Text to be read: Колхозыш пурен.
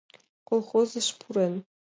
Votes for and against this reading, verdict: 2, 0, accepted